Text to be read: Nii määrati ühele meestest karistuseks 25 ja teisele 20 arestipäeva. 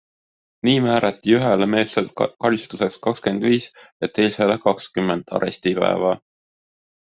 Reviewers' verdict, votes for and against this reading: rejected, 0, 2